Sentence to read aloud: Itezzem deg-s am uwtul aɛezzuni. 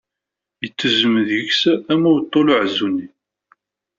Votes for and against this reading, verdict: 2, 0, accepted